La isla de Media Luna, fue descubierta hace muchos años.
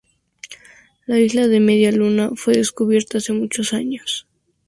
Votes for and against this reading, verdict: 2, 0, accepted